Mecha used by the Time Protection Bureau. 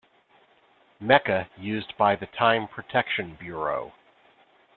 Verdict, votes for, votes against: accepted, 3, 0